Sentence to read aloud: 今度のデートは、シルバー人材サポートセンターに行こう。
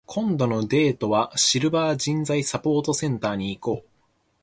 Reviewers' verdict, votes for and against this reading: accepted, 12, 0